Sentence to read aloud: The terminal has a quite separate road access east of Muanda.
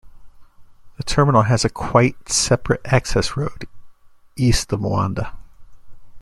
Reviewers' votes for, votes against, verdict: 0, 2, rejected